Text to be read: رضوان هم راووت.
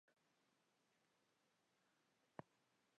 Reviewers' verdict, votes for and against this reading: rejected, 0, 2